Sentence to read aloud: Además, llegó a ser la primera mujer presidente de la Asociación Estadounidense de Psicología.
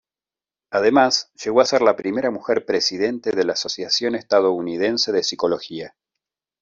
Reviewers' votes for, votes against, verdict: 2, 0, accepted